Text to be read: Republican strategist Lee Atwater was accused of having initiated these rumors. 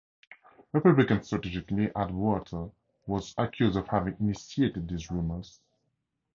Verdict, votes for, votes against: accepted, 2, 0